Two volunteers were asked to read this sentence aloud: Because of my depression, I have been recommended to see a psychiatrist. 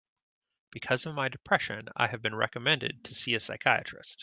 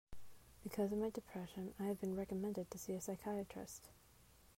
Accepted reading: first